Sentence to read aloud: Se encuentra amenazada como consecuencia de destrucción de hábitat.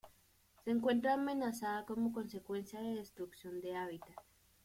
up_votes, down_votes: 1, 2